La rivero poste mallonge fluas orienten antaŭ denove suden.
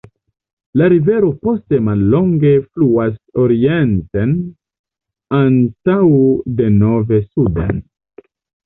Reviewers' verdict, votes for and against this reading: rejected, 1, 2